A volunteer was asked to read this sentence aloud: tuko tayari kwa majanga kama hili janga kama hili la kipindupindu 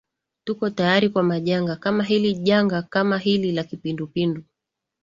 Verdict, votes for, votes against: accepted, 2, 0